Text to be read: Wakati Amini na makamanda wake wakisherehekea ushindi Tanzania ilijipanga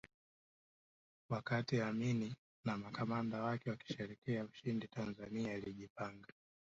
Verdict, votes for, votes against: accepted, 2, 1